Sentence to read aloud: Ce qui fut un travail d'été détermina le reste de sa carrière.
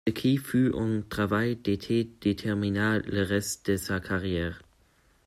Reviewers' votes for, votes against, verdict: 1, 2, rejected